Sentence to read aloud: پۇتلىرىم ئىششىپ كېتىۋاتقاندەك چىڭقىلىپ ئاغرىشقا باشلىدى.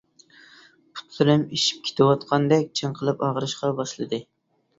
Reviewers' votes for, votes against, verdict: 2, 0, accepted